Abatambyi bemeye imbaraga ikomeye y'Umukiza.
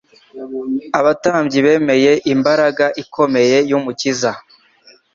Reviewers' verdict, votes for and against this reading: accepted, 2, 0